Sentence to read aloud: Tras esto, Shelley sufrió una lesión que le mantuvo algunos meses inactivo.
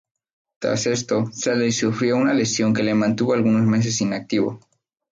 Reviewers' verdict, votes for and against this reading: accepted, 2, 0